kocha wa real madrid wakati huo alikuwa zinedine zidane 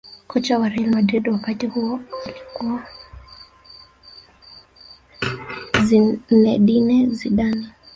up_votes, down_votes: 2, 3